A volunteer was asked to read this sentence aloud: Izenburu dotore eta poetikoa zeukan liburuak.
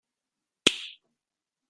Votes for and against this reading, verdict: 0, 2, rejected